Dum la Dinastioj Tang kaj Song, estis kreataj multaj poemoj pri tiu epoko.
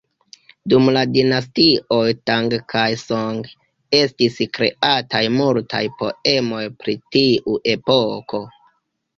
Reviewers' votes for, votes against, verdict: 2, 1, accepted